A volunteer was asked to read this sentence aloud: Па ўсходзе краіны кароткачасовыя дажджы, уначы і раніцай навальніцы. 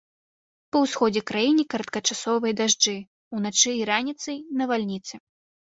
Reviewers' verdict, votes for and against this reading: rejected, 1, 2